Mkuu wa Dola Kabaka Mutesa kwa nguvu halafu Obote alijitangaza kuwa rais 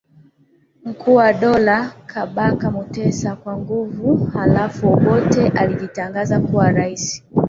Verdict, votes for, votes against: accepted, 2, 1